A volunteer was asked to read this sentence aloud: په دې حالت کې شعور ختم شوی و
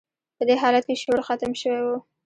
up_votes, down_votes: 1, 2